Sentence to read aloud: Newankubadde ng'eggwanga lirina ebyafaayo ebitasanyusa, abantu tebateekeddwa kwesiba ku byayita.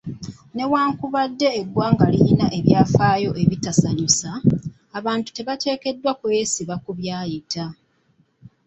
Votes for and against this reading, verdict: 1, 2, rejected